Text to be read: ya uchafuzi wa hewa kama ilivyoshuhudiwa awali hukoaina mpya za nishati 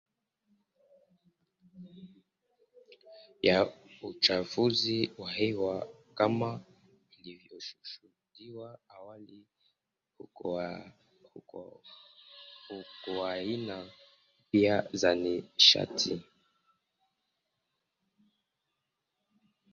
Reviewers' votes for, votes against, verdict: 0, 2, rejected